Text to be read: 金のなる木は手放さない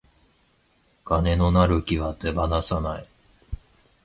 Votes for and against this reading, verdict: 54, 4, accepted